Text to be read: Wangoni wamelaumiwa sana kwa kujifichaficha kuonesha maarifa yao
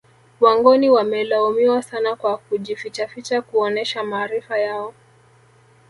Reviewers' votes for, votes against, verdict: 2, 1, accepted